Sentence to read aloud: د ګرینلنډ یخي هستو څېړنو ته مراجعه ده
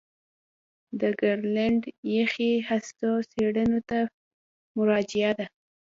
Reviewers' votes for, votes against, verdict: 2, 0, accepted